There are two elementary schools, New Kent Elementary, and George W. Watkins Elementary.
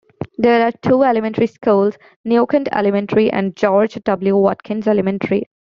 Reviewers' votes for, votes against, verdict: 2, 1, accepted